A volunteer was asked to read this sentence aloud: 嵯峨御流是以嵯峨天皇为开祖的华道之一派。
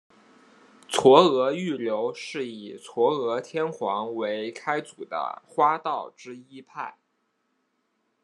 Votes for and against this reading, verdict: 1, 2, rejected